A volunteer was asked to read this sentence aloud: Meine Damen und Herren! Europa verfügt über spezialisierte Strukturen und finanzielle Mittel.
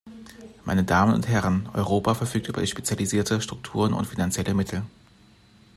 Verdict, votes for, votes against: rejected, 1, 2